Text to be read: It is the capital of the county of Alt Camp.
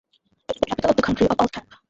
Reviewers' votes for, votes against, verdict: 0, 2, rejected